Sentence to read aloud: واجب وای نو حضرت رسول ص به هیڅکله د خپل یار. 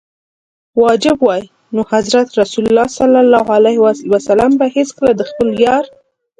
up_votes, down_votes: 2, 0